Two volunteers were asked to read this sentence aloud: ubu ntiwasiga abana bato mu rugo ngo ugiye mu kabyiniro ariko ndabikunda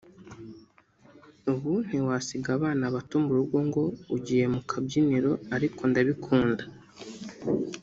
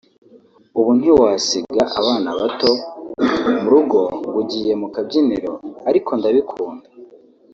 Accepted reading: second